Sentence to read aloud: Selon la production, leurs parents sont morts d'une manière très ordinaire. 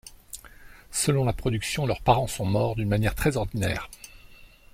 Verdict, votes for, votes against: accepted, 2, 0